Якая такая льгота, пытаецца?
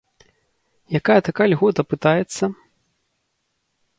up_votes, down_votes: 3, 0